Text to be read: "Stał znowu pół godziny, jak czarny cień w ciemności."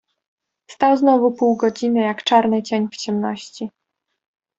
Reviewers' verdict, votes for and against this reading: accepted, 2, 0